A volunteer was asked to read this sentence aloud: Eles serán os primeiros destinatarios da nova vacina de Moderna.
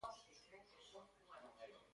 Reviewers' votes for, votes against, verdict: 0, 2, rejected